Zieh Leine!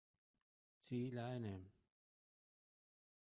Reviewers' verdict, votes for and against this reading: rejected, 1, 2